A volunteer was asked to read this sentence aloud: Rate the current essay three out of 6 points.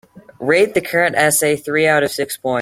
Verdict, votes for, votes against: rejected, 0, 2